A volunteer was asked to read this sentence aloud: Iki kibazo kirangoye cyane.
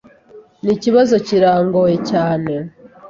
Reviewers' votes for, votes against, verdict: 2, 0, accepted